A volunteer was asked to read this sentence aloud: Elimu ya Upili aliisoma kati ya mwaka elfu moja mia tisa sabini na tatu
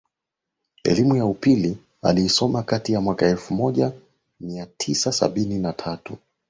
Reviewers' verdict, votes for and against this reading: accepted, 18, 1